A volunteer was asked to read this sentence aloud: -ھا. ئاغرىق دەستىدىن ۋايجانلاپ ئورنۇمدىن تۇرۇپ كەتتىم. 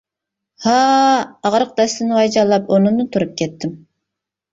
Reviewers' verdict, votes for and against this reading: rejected, 1, 2